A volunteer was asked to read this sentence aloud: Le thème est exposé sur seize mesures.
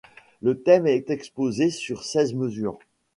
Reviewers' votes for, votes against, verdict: 2, 0, accepted